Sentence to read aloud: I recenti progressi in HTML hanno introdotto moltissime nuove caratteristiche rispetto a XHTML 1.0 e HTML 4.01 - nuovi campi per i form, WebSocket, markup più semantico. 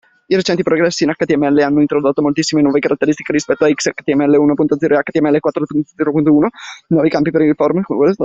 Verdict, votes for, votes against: rejected, 0, 2